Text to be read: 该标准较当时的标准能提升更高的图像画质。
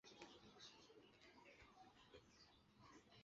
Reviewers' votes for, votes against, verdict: 1, 2, rejected